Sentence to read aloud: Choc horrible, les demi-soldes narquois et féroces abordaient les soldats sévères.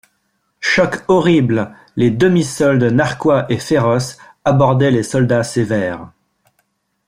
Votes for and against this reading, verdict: 2, 1, accepted